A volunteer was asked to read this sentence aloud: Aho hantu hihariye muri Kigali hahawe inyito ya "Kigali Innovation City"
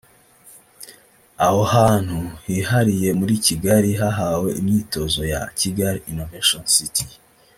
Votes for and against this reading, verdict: 1, 2, rejected